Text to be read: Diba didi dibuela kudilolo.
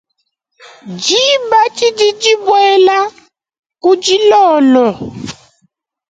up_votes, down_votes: 2, 0